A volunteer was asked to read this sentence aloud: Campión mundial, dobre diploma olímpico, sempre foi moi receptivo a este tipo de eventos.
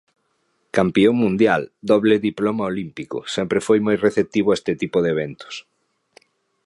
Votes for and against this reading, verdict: 1, 2, rejected